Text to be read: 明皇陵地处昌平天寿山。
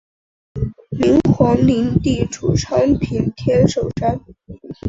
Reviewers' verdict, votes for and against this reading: accepted, 2, 0